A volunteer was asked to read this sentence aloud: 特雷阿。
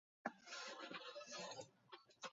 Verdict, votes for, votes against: rejected, 1, 3